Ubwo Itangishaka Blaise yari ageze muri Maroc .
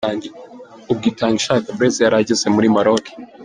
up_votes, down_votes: 2, 0